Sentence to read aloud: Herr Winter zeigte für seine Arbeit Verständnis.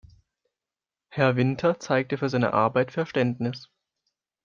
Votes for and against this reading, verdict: 2, 0, accepted